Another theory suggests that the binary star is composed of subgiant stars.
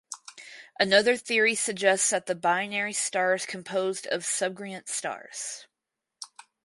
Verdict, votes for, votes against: rejected, 0, 4